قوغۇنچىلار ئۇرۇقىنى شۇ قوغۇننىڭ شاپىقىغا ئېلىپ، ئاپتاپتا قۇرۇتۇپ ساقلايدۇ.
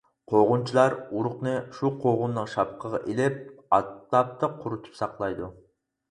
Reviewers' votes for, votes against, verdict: 0, 4, rejected